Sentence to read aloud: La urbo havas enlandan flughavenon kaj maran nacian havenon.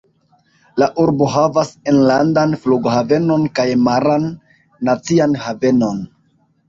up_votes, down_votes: 2, 0